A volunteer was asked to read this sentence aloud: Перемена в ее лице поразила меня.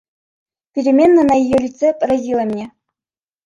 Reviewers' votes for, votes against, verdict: 0, 2, rejected